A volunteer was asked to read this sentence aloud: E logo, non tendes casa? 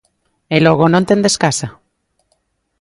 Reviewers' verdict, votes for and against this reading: accepted, 2, 0